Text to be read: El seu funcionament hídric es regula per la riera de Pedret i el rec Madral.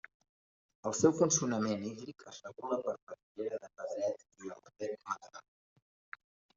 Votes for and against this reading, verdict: 0, 2, rejected